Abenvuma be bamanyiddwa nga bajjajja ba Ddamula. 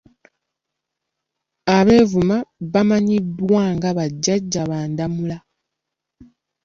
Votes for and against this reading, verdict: 0, 2, rejected